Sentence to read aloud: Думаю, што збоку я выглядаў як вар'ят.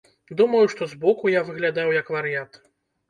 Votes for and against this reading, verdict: 2, 0, accepted